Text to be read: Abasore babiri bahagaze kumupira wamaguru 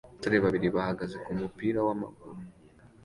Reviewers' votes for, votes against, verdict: 2, 0, accepted